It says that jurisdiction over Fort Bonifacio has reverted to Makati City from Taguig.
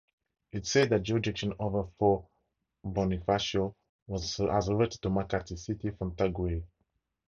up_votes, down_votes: 0, 2